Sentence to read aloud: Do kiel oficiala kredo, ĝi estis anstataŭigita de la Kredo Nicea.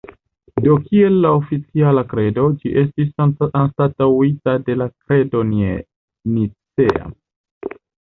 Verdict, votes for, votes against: rejected, 1, 2